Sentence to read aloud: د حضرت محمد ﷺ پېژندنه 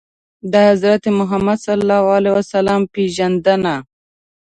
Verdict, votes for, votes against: accepted, 2, 0